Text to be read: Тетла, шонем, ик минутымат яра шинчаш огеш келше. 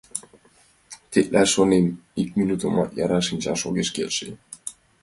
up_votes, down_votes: 2, 1